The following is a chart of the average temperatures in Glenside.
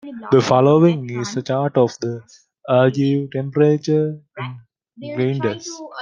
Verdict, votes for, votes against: rejected, 0, 2